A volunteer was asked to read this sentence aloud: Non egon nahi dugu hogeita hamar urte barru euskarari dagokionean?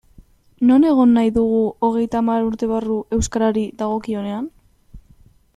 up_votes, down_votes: 2, 0